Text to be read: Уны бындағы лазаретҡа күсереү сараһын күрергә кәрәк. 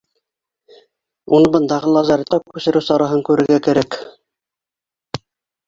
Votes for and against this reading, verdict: 1, 2, rejected